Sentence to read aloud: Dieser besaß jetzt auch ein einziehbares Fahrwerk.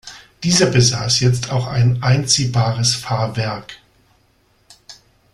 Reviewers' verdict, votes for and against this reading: accepted, 2, 0